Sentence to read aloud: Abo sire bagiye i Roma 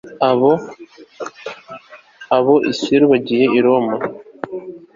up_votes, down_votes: 0, 2